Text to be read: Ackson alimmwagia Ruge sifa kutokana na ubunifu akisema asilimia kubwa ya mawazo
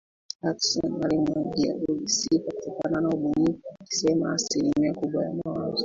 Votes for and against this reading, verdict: 1, 2, rejected